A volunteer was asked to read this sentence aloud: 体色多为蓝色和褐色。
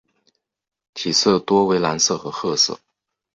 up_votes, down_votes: 2, 1